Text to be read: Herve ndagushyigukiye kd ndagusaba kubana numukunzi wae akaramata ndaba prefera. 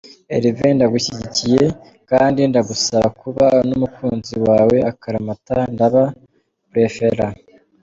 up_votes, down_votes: 2, 1